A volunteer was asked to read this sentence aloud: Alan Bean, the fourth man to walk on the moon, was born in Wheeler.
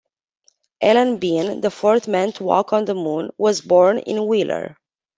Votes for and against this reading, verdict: 2, 0, accepted